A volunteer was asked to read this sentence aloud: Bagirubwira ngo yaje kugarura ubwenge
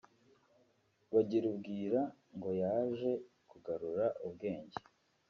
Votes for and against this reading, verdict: 3, 0, accepted